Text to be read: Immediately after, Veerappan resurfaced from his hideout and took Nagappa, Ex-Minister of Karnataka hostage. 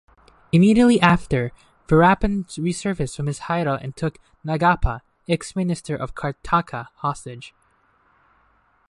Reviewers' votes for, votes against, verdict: 0, 2, rejected